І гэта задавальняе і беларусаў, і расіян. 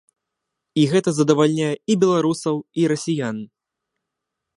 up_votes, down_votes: 2, 1